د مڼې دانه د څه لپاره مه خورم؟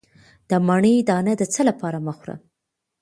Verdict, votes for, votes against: accepted, 2, 0